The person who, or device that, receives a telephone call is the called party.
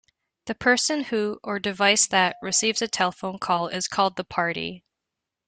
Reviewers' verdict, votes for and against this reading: rejected, 0, 2